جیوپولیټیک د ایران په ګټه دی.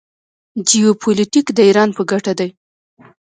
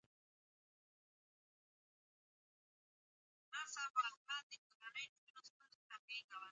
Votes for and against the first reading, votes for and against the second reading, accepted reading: 2, 0, 1, 2, first